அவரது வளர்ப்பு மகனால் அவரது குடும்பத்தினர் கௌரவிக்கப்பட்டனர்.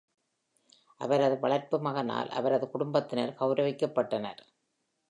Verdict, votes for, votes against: accepted, 2, 0